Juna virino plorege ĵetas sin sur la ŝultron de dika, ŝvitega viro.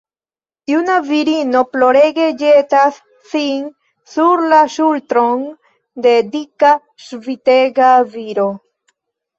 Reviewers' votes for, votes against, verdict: 1, 2, rejected